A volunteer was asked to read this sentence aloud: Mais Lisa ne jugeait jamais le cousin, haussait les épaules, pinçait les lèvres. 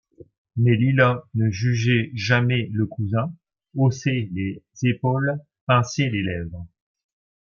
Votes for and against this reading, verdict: 1, 2, rejected